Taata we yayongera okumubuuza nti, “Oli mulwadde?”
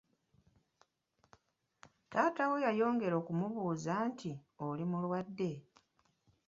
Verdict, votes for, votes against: accepted, 2, 1